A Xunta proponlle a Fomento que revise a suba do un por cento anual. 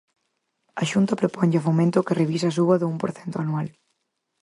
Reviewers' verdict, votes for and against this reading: accepted, 4, 0